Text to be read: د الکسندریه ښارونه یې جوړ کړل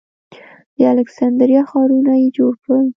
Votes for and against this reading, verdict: 1, 2, rejected